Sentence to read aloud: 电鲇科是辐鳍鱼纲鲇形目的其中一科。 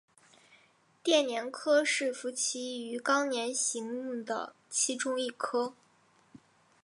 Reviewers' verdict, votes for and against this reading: accepted, 2, 1